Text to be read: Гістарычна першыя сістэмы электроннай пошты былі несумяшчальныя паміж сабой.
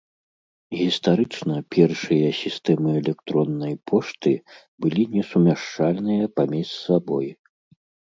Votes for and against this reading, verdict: 3, 0, accepted